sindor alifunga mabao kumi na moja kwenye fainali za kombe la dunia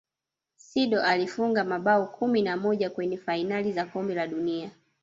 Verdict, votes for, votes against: accepted, 2, 0